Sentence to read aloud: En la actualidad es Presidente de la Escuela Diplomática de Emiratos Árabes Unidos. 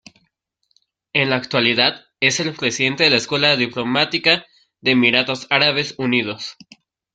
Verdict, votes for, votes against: rejected, 1, 2